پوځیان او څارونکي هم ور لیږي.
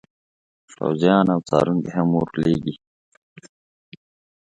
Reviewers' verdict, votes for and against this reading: accepted, 2, 0